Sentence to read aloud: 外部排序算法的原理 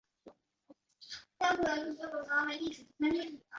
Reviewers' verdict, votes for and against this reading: rejected, 0, 3